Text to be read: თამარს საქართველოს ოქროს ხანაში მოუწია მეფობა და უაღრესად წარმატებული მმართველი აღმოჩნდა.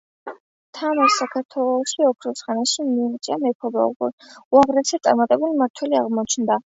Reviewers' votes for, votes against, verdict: 0, 2, rejected